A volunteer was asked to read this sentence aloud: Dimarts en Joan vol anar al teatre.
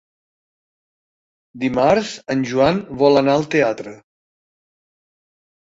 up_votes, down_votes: 3, 1